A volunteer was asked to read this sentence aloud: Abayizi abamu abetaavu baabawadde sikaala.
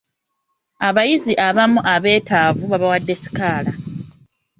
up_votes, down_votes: 2, 0